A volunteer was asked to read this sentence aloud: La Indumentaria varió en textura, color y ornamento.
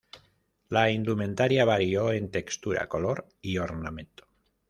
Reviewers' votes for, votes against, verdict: 2, 0, accepted